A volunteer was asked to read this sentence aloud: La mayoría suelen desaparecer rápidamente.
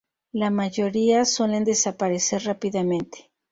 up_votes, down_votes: 0, 2